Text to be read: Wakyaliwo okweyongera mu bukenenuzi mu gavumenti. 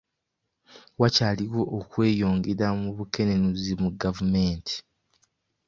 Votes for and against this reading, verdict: 2, 0, accepted